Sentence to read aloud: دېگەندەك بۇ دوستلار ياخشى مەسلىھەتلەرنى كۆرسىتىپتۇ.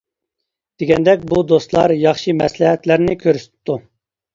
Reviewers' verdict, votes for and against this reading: accepted, 2, 0